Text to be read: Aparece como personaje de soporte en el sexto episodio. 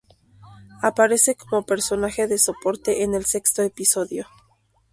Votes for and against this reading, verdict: 2, 0, accepted